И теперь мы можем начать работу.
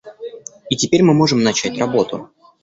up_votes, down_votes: 0, 2